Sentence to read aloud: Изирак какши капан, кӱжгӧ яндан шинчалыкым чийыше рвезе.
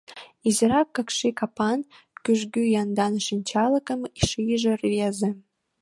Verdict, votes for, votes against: rejected, 0, 2